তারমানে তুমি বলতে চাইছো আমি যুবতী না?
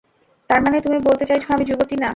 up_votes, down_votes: 2, 0